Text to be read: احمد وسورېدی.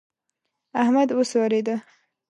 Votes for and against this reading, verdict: 1, 2, rejected